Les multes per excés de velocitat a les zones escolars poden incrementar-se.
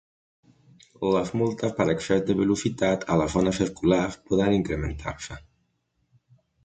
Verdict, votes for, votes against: accepted, 2, 0